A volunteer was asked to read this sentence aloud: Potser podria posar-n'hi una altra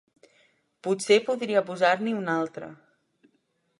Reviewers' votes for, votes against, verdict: 2, 0, accepted